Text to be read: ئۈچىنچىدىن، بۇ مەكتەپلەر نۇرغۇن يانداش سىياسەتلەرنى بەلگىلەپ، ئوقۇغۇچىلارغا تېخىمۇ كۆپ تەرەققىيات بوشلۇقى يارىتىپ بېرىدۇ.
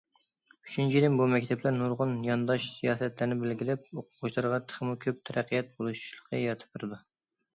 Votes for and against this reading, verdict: 0, 2, rejected